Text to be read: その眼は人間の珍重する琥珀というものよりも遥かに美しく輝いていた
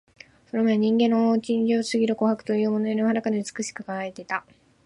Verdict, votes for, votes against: rejected, 2, 2